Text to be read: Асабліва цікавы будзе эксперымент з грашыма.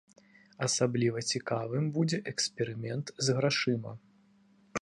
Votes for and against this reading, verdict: 0, 2, rejected